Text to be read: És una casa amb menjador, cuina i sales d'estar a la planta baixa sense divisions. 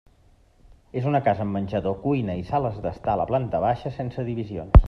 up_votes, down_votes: 3, 0